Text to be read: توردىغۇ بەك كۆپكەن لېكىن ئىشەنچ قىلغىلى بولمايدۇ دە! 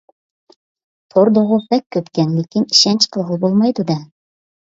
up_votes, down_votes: 2, 1